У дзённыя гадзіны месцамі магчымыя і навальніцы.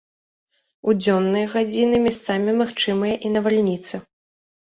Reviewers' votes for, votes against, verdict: 0, 3, rejected